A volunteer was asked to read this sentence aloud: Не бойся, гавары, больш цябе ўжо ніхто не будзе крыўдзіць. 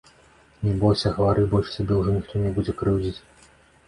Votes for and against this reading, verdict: 2, 0, accepted